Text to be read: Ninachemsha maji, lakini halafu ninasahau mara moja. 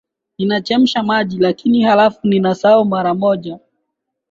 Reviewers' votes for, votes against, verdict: 2, 0, accepted